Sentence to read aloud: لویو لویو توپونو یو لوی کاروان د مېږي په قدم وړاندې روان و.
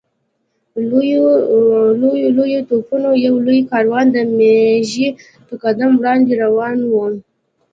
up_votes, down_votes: 2, 0